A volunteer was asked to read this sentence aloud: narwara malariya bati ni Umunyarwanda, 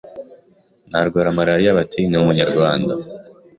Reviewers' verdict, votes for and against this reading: accepted, 2, 0